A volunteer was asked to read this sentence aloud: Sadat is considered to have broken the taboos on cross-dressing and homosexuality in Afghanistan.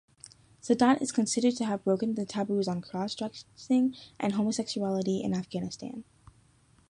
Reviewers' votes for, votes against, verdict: 2, 0, accepted